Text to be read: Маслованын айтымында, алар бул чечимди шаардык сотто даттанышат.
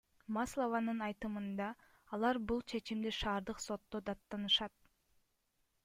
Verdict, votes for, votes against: rejected, 1, 2